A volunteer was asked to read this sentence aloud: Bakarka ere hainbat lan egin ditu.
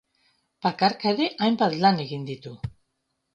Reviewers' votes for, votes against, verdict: 2, 0, accepted